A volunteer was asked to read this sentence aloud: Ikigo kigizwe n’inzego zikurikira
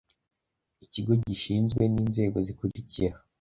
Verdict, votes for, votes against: rejected, 1, 2